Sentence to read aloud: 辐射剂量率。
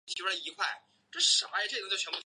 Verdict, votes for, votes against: rejected, 0, 4